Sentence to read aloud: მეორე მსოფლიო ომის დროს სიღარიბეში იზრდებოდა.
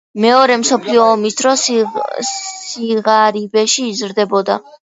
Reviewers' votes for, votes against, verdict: 1, 2, rejected